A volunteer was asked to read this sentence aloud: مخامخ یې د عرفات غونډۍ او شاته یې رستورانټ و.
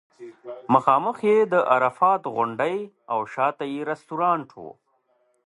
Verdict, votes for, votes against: accepted, 2, 1